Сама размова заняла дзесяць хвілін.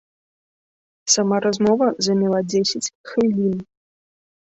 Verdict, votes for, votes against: accepted, 2, 0